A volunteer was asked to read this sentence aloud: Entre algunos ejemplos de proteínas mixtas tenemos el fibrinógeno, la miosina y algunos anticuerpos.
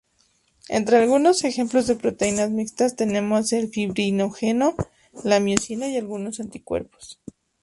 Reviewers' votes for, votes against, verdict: 2, 2, rejected